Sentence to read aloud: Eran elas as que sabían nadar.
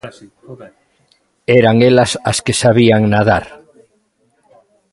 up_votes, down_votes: 2, 1